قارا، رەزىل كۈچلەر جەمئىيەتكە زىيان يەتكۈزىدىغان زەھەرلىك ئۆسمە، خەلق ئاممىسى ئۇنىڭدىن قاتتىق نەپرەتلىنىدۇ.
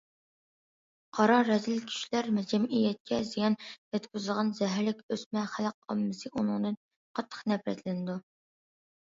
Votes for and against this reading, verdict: 2, 0, accepted